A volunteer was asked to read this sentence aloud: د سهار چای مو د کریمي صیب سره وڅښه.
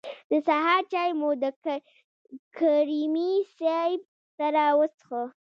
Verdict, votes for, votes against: rejected, 0, 2